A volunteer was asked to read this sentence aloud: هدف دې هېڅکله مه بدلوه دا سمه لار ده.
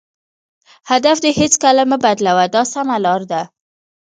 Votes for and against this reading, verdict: 1, 2, rejected